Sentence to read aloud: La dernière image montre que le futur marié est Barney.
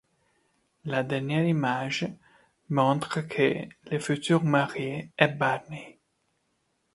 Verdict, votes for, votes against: accepted, 2, 0